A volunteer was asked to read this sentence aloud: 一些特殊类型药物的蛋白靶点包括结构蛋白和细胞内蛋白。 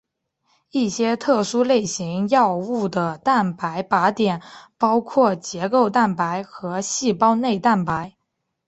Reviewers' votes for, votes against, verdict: 5, 0, accepted